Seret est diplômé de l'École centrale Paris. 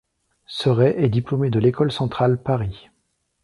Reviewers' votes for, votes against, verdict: 2, 0, accepted